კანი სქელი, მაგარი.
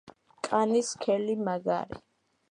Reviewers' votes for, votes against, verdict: 2, 0, accepted